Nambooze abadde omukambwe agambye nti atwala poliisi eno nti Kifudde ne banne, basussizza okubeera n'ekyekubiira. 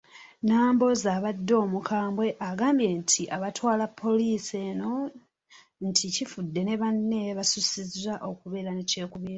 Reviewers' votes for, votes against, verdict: 0, 2, rejected